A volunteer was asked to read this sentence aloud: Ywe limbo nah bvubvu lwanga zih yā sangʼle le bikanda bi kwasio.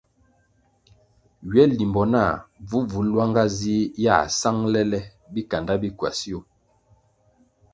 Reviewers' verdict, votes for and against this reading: accepted, 2, 0